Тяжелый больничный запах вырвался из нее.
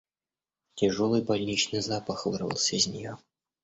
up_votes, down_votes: 2, 0